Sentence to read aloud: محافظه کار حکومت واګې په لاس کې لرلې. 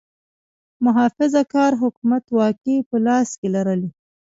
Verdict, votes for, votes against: rejected, 1, 2